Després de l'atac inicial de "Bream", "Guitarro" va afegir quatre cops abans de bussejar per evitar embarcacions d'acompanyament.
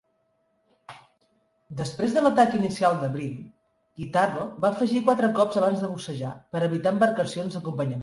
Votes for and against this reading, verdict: 1, 2, rejected